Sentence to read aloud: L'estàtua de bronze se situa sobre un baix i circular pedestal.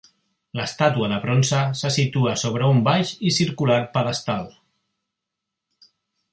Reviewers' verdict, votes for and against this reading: rejected, 1, 2